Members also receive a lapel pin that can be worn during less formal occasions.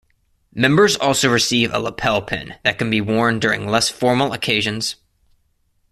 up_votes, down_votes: 1, 2